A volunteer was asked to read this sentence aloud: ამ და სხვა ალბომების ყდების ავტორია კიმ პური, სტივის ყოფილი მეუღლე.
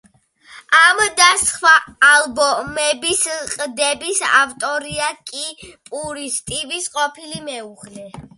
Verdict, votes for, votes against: rejected, 1, 2